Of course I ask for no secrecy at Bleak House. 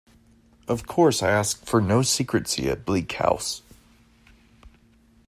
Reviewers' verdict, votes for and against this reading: accepted, 2, 1